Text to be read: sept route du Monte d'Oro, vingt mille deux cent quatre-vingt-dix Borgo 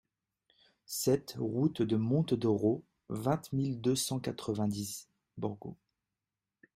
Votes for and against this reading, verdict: 2, 0, accepted